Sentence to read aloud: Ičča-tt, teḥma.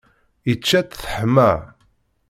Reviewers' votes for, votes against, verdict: 2, 0, accepted